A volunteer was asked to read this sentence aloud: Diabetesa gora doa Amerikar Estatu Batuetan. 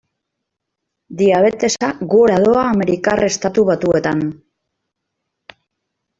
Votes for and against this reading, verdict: 2, 0, accepted